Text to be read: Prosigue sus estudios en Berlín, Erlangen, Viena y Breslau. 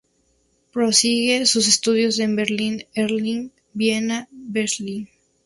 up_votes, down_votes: 0, 2